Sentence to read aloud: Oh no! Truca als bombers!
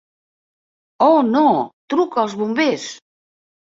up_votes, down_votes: 2, 0